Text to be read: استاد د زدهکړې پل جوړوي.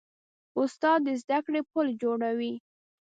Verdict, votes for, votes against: accepted, 2, 0